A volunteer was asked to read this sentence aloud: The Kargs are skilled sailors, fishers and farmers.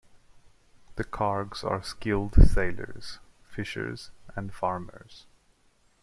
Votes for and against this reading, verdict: 2, 0, accepted